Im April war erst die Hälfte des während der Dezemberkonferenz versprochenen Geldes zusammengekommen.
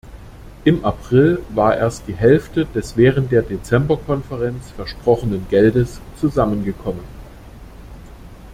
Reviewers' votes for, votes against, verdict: 2, 0, accepted